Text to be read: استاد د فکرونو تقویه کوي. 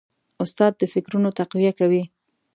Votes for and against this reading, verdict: 4, 0, accepted